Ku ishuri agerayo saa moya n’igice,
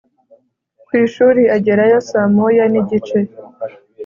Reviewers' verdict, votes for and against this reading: accepted, 2, 0